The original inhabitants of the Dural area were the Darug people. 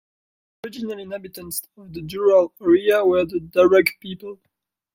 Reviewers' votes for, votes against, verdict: 1, 2, rejected